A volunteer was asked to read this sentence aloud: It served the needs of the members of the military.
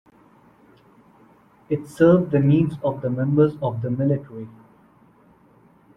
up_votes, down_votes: 2, 0